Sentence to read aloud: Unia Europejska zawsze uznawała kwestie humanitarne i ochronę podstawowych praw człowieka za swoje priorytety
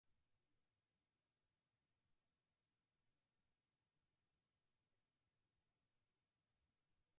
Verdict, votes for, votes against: rejected, 0, 4